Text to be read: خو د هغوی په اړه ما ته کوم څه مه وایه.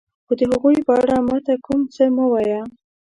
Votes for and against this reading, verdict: 2, 0, accepted